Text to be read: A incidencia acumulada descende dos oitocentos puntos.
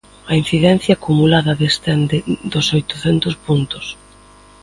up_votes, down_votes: 2, 0